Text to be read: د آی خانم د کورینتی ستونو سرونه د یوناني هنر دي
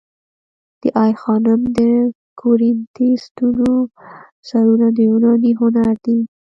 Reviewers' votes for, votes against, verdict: 1, 2, rejected